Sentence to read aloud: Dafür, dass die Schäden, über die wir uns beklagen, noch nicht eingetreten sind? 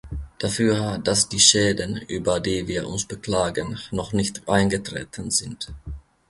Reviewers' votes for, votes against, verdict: 2, 0, accepted